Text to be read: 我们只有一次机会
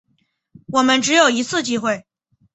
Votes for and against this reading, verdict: 5, 0, accepted